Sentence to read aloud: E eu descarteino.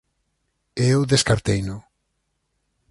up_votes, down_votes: 4, 0